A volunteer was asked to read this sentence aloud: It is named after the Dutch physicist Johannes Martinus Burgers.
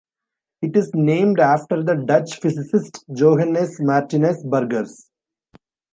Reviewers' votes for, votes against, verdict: 2, 0, accepted